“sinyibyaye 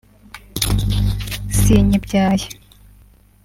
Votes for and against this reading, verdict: 3, 0, accepted